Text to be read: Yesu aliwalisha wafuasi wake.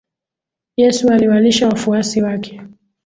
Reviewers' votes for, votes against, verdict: 2, 0, accepted